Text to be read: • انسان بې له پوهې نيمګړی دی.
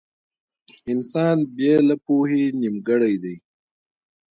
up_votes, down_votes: 1, 2